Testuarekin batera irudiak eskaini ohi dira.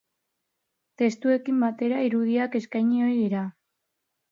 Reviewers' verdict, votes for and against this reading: rejected, 1, 2